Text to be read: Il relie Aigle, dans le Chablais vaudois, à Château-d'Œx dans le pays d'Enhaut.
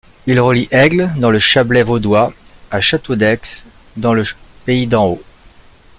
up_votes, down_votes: 1, 2